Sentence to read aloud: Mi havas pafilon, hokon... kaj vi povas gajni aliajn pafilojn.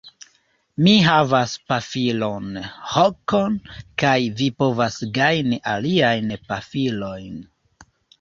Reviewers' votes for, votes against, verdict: 1, 2, rejected